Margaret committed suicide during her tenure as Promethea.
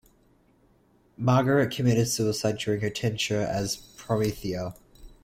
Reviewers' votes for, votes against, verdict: 0, 2, rejected